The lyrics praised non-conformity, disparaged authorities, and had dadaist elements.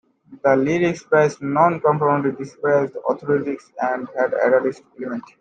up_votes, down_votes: 1, 2